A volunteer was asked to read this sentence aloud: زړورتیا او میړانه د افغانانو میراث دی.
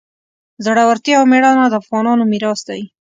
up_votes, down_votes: 2, 0